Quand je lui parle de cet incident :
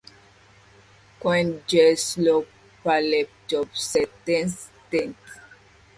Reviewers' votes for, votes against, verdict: 1, 2, rejected